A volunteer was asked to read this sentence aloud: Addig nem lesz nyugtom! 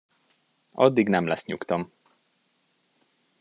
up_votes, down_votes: 2, 0